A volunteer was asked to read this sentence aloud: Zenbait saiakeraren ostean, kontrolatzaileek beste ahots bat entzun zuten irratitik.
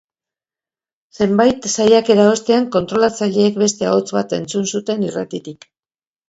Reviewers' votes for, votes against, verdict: 1, 3, rejected